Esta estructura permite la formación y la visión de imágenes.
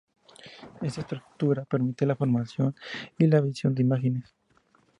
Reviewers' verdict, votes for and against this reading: accepted, 2, 0